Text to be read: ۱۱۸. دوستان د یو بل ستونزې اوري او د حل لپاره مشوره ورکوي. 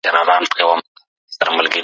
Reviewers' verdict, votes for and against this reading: rejected, 0, 2